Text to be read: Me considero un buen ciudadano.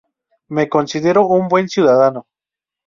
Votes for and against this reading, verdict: 2, 0, accepted